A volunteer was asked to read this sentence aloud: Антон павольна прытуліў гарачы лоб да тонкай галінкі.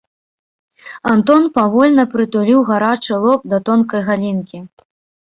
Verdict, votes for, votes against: accepted, 3, 0